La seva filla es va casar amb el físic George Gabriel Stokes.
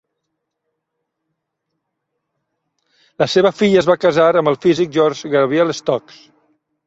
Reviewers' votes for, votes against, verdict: 1, 2, rejected